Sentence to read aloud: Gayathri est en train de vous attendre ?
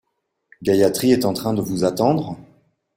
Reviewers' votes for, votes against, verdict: 2, 0, accepted